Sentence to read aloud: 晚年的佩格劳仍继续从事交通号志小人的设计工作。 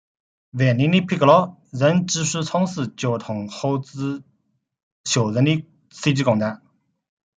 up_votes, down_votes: 0, 3